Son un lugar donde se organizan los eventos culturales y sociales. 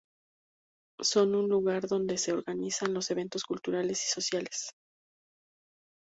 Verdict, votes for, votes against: accepted, 2, 0